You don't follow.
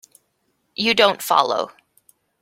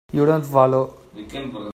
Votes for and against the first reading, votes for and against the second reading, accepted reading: 2, 0, 1, 2, first